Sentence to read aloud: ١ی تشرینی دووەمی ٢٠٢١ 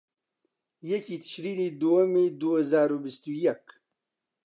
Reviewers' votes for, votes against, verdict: 0, 2, rejected